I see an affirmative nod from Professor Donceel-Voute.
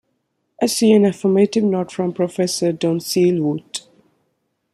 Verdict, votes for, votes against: accepted, 2, 0